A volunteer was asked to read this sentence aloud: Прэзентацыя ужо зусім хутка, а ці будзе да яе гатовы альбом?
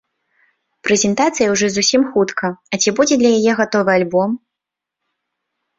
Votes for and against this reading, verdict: 0, 2, rejected